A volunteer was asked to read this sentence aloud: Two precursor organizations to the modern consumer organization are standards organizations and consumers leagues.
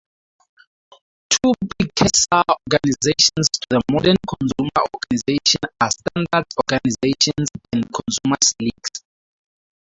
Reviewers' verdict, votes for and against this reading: rejected, 0, 2